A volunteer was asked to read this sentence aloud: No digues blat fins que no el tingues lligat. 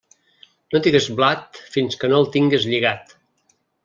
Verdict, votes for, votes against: rejected, 2, 3